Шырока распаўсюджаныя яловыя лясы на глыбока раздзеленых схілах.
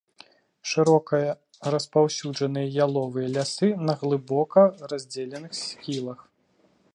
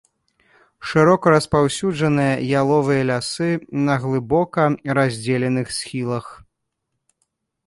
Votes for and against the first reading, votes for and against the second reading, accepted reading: 1, 2, 3, 0, second